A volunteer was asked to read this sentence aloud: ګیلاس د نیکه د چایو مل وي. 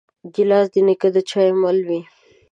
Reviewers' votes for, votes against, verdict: 2, 0, accepted